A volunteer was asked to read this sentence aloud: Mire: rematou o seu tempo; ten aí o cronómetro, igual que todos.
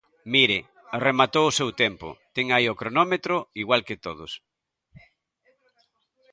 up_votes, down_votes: 2, 0